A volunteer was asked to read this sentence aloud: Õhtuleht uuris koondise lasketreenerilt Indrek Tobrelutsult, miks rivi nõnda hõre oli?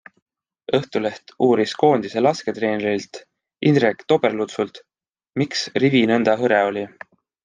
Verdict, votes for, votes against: accepted, 2, 0